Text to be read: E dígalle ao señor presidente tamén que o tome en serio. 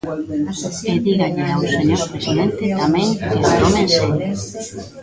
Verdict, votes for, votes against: rejected, 0, 2